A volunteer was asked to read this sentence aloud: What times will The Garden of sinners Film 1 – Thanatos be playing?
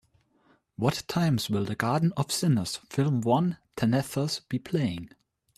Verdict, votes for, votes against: rejected, 0, 2